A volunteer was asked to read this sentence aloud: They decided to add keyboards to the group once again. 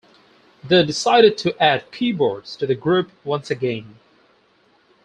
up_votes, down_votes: 2, 2